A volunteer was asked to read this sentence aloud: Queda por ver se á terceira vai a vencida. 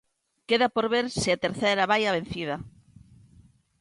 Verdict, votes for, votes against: rejected, 1, 2